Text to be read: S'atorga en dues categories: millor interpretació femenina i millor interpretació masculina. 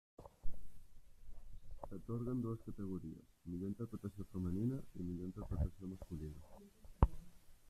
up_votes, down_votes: 0, 2